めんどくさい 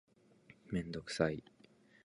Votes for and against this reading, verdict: 2, 0, accepted